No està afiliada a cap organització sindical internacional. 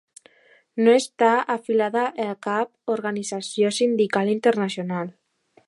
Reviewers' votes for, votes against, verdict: 1, 2, rejected